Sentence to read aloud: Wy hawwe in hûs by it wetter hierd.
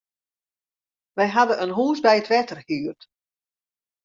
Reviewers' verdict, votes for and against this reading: rejected, 1, 2